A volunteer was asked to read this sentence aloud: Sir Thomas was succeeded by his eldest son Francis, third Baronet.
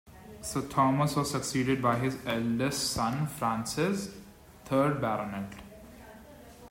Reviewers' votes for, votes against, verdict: 2, 0, accepted